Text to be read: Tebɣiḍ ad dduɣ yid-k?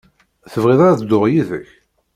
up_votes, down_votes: 2, 0